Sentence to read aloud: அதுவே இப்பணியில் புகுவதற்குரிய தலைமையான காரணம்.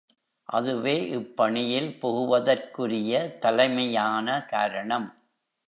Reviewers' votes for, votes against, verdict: 0, 2, rejected